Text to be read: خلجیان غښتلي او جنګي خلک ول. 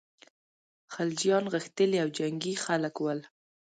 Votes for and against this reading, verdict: 1, 2, rejected